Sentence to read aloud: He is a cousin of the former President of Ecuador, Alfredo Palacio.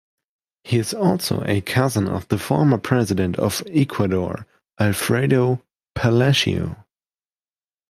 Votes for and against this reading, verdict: 1, 3, rejected